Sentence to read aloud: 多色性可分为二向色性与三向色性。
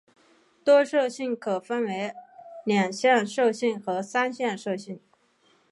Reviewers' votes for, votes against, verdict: 4, 1, accepted